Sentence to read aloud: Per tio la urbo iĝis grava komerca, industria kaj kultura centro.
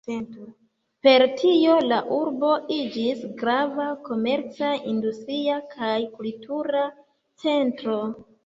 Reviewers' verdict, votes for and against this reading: rejected, 0, 2